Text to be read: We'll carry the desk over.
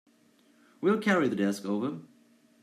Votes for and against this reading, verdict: 2, 0, accepted